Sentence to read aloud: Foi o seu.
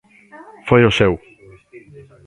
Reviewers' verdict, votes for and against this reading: accepted, 2, 1